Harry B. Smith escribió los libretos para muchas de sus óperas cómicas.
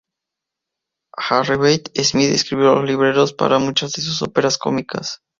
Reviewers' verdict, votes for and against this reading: rejected, 0, 2